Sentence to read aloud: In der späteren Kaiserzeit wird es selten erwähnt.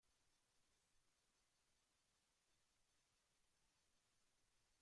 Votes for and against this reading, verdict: 0, 2, rejected